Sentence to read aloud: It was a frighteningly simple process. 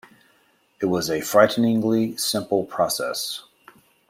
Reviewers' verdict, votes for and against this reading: accepted, 2, 0